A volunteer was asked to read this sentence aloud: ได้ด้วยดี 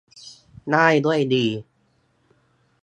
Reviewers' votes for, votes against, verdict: 2, 0, accepted